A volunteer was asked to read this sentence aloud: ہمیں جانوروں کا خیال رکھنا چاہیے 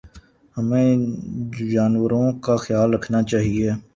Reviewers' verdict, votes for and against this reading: accepted, 2, 0